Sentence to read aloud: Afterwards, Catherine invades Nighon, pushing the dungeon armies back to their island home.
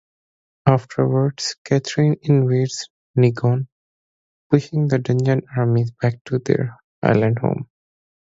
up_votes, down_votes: 0, 2